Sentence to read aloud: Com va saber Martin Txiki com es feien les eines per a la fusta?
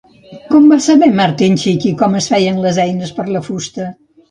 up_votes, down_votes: 1, 2